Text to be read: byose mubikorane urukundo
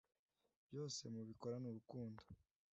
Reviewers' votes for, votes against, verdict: 2, 0, accepted